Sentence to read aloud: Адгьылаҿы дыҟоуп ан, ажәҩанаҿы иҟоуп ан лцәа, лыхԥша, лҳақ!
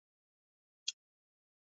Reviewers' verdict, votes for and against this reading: rejected, 1, 2